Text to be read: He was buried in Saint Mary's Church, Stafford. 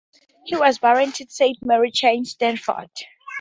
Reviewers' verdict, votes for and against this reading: rejected, 2, 2